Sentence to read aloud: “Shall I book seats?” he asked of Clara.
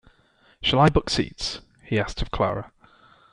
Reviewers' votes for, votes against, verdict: 2, 1, accepted